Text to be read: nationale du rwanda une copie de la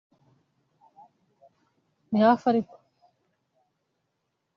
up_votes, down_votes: 0, 2